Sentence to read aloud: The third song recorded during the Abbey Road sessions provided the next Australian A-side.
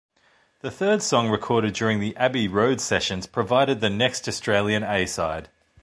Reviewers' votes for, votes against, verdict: 2, 0, accepted